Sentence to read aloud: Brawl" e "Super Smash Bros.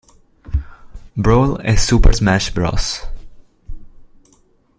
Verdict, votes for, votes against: accepted, 2, 0